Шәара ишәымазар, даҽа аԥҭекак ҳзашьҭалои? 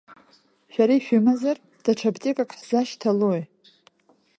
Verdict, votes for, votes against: accepted, 2, 0